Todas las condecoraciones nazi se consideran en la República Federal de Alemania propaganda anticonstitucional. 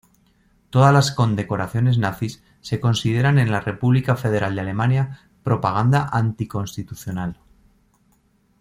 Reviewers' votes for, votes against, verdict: 1, 2, rejected